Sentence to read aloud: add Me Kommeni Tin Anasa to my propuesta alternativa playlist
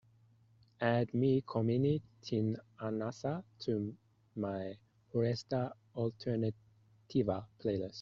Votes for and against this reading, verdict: 2, 0, accepted